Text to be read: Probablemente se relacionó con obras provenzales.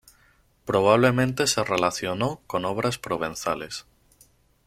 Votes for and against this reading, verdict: 2, 0, accepted